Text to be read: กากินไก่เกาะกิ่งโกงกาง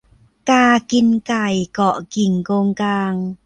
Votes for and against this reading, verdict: 1, 2, rejected